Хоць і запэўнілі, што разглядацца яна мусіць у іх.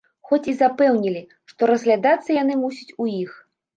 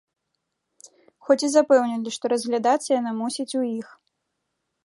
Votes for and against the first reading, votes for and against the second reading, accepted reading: 1, 2, 2, 1, second